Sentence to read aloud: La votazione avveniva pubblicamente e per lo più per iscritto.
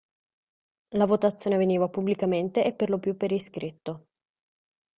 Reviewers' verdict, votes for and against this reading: accepted, 2, 0